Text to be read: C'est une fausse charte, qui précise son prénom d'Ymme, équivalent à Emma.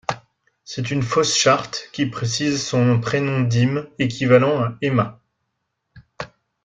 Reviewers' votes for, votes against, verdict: 0, 3, rejected